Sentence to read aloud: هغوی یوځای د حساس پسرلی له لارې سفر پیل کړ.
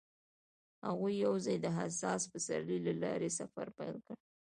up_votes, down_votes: 2, 0